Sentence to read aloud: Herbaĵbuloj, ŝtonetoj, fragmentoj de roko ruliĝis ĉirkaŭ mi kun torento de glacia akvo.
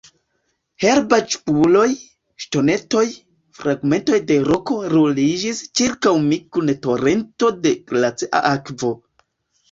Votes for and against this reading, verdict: 1, 2, rejected